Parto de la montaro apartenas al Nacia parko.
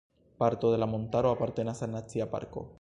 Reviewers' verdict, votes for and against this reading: accepted, 2, 1